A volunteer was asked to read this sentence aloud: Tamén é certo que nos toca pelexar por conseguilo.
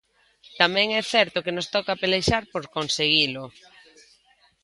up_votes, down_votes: 2, 0